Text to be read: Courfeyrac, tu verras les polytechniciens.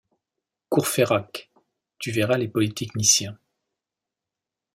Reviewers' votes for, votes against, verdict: 2, 0, accepted